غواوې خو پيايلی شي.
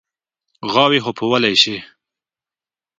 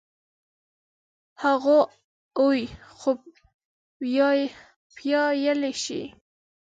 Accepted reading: first